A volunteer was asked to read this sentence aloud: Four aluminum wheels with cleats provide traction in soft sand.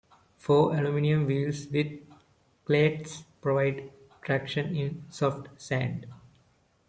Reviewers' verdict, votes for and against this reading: accepted, 2, 1